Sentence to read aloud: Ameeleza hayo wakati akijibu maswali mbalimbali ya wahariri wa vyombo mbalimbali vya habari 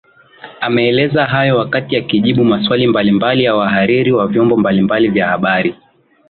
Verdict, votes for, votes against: accepted, 2, 0